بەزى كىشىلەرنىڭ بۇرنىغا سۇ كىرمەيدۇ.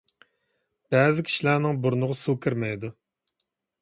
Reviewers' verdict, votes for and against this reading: accepted, 2, 0